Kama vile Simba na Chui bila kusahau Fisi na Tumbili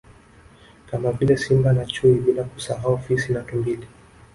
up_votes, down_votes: 1, 2